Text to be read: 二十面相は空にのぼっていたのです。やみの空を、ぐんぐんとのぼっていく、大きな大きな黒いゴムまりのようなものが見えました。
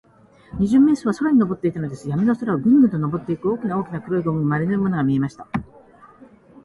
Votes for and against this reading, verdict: 4, 1, accepted